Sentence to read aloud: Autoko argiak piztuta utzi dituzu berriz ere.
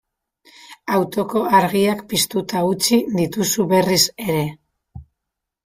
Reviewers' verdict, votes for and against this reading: accepted, 2, 0